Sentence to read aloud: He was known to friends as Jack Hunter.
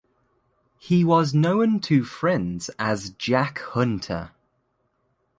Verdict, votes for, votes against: accepted, 2, 0